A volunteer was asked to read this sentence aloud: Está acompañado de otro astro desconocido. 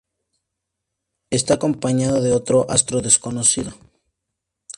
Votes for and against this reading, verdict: 2, 0, accepted